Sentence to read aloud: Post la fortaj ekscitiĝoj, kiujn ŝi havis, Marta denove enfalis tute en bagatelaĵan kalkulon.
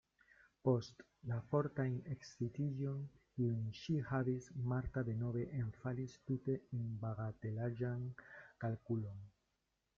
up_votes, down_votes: 1, 2